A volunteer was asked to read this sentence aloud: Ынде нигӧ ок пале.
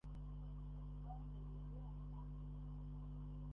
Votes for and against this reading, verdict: 0, 2, rejected